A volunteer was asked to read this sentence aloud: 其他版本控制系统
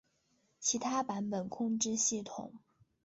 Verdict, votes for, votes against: accepted, 3, 0